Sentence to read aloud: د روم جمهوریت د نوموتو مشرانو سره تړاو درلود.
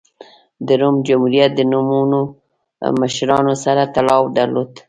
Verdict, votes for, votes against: rejected, 1, 2